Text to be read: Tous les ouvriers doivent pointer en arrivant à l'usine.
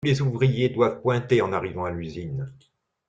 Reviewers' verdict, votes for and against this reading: rejected, 1, 2